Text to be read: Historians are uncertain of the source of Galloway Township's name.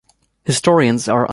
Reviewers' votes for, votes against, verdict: 1, 2, rejected